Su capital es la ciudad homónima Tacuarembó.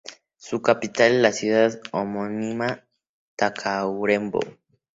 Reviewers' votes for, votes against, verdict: 2, 2, rejected